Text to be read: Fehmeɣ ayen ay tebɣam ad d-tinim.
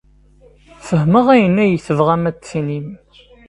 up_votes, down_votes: 2, 0